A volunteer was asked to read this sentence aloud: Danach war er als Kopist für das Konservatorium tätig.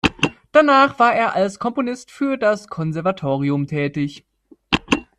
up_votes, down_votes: 0, 2